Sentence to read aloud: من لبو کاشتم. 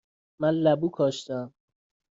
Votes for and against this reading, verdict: 2, 0, accepted